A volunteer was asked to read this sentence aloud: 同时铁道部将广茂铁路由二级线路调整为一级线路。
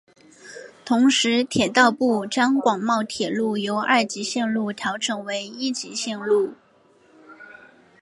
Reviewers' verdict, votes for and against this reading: accepted, 3, 0